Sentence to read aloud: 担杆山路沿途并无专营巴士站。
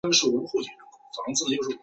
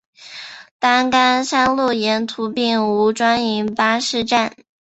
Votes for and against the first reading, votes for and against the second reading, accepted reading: 0, 2, 2, 0, second